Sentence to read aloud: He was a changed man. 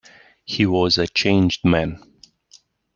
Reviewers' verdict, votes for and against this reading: accepted, 2, 0